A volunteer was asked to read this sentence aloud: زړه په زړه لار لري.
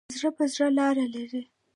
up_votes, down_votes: 1, 2